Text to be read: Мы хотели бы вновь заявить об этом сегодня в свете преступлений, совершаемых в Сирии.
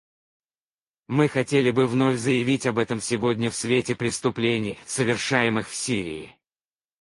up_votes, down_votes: 2, 4